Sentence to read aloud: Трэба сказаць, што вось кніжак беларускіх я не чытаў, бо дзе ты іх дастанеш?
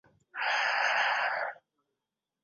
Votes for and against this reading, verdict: 0, 2, rejected